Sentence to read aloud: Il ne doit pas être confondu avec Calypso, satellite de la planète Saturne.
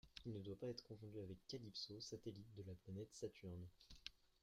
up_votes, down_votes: 1, 2